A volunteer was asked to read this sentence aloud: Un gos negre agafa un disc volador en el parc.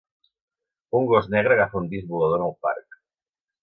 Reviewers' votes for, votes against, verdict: 2, 0, accepted